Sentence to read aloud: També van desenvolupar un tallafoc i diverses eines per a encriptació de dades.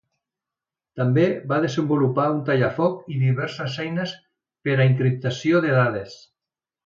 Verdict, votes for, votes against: accepted, 2, 1